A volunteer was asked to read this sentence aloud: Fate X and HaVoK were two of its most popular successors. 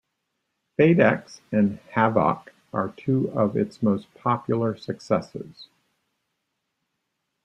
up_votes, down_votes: 0, 2